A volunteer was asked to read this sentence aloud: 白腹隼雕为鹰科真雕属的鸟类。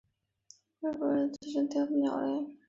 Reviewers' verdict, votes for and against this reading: rejected, 0, 2